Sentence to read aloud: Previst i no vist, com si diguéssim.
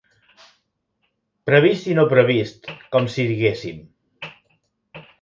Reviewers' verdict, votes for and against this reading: rejected, 0, 2